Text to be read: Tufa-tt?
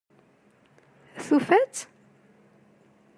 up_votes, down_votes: 2, 0